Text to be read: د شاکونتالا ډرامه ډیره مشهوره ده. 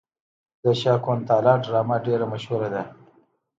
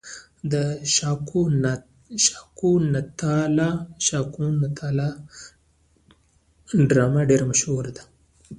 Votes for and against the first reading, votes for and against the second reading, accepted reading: 2, 0, 1, 2, first